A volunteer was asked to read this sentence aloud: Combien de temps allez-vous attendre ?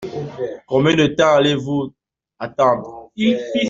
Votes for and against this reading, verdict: 0, 2, rejected